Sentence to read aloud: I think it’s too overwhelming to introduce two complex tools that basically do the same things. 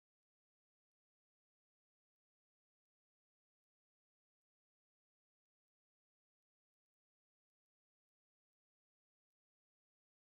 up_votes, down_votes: 0, 3